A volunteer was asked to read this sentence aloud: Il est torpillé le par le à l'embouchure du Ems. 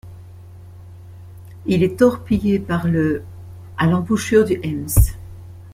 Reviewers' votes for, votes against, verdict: 0, 2, rejected